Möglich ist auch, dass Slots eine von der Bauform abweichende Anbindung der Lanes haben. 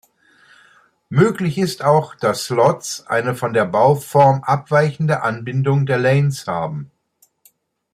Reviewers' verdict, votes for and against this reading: accepted, 2, 0